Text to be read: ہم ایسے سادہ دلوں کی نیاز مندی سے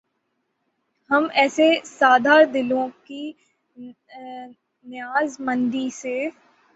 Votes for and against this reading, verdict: 0, 6, rejected